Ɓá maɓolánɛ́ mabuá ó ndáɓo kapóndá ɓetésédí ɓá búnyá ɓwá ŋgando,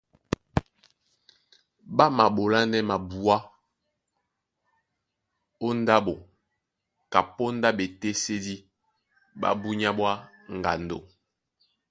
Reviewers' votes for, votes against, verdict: 2, 1, accepted